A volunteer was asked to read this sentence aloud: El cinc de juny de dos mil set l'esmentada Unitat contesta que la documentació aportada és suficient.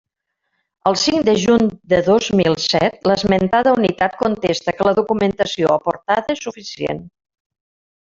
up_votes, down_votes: 1, 2